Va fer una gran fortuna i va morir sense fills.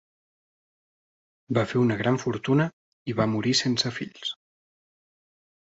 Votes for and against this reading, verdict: 3, 1, accepted